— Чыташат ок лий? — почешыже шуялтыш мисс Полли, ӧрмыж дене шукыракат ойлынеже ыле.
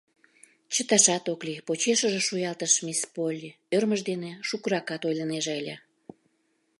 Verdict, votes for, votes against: accepted, 2, 0